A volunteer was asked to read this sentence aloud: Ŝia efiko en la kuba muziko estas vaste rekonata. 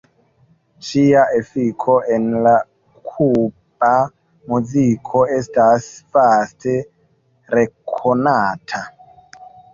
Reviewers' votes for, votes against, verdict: 2, 0, accepted